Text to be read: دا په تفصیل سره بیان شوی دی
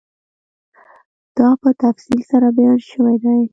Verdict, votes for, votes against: accepted, 2, 0